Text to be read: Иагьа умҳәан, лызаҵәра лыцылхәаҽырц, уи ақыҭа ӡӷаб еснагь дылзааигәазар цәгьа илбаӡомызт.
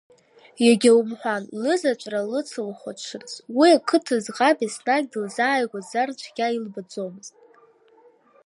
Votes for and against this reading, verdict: 0, 2, rejected